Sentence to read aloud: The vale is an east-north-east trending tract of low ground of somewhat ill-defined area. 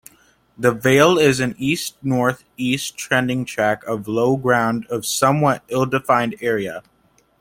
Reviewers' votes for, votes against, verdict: 2, 1, accepted